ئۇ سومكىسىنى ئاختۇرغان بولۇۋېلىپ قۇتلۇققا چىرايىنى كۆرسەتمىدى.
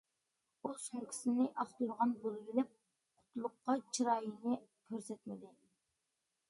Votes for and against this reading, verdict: 2, 0, accepted